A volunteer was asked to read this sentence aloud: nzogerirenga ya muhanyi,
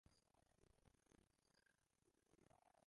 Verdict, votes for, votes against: rejected, 0, 2